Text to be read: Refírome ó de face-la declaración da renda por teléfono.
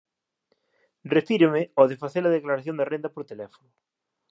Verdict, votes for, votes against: accepted, 2, 0